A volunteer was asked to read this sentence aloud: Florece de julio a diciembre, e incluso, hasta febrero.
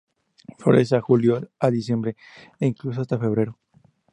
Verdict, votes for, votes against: accepted, 2, 0